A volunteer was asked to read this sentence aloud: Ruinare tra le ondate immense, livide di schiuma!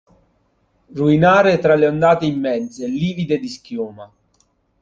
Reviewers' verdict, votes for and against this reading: accepted, 2, 0